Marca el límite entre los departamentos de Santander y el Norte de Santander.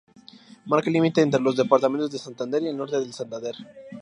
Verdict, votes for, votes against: accepted, 2, 0